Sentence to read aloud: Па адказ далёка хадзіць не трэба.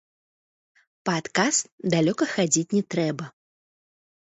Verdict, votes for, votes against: rejected, 0, 3